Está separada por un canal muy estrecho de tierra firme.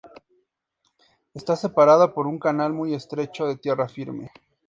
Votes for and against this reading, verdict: 4, 0, accepted